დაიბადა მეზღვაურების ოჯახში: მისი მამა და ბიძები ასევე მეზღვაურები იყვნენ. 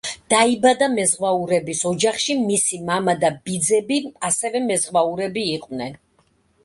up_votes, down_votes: 0, 2